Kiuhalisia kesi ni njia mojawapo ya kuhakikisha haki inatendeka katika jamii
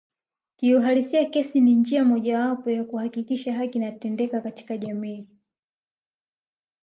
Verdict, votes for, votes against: accepted, 2, 1